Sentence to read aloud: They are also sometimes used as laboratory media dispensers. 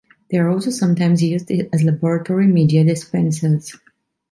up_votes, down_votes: 2, 1